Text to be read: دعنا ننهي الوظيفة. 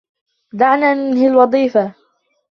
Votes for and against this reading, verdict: 2, 0, accepted